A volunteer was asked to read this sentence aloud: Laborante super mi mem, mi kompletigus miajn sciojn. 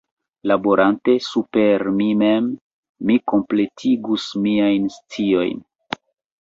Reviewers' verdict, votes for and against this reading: rejected, 1, 2